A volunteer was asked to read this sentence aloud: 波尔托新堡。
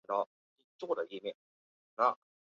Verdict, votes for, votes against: rejected, 1, 5